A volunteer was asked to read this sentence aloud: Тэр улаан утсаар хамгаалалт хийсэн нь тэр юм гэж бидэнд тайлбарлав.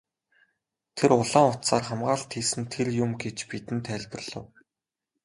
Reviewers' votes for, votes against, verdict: 0, 2, rejected